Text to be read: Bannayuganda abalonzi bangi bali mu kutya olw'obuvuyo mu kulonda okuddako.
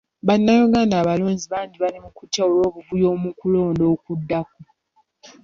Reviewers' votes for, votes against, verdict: 2, 1, accepted